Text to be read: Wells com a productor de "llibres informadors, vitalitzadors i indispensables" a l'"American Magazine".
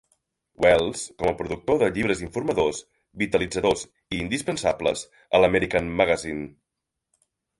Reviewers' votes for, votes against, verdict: 3, 0, accepted